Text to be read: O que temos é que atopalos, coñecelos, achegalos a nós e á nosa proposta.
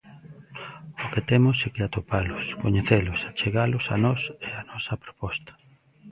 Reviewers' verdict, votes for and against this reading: rejected, 1, 2